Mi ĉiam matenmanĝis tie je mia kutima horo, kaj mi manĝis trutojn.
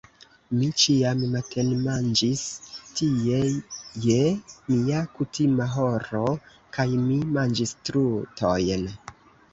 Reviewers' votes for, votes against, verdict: 0, 2, rejected